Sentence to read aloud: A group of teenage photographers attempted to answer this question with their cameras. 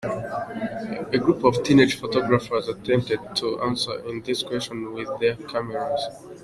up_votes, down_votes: 2, 0